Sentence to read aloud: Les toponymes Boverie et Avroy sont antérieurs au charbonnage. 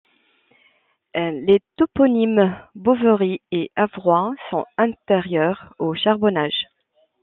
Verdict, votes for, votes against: rejected, 1, 2